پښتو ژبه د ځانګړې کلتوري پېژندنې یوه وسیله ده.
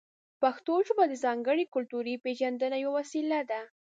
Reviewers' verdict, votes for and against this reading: accepted, 2, 0